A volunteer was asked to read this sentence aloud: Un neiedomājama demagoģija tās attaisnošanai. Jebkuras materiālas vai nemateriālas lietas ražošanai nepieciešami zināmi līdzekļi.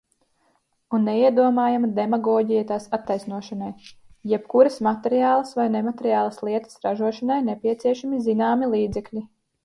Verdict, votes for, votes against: accepted, 2, 0